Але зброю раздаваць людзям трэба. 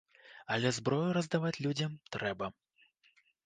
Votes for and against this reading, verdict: 2, 0, accepted